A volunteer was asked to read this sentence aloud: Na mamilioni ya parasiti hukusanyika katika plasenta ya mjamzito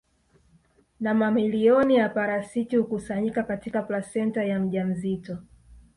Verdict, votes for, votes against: accepted, 2, 0